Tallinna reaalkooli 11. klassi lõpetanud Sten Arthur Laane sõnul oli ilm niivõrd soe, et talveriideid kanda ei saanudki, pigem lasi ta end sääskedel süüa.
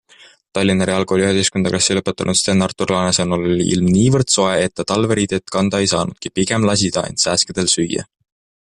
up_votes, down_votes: 0, 2